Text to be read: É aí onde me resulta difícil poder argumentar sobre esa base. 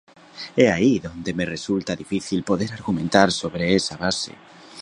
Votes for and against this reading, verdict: 0, 2, rejected